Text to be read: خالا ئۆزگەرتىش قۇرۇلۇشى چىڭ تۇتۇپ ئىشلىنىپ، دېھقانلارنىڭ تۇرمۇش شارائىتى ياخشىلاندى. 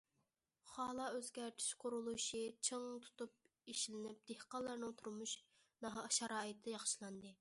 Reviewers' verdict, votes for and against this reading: rejected, 0, 2